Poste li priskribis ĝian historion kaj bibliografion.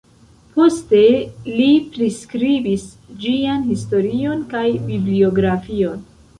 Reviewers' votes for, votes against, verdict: 0, 2, rejected